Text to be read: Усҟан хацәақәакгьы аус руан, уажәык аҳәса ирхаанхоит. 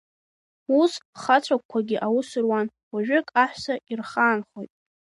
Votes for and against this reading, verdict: 0, 2, rejected